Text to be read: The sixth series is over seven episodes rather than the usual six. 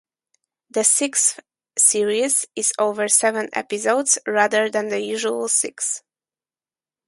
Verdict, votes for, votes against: rejected, 0, 2